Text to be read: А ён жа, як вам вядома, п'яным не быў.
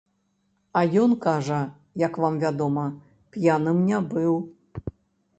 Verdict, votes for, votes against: rejected, 1, 2